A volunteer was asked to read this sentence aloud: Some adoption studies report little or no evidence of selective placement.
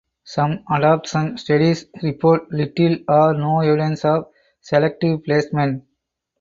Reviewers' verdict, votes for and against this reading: rejected, 2, 4